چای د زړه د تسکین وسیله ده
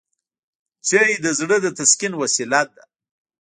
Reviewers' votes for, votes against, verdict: 1, 2, rejected